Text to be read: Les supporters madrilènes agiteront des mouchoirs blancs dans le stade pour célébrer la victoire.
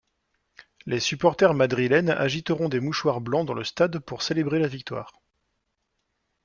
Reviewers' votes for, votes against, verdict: 2, 0, accepted